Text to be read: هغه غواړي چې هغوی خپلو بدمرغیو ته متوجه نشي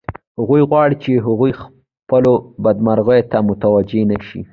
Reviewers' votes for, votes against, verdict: 1, 2, rejected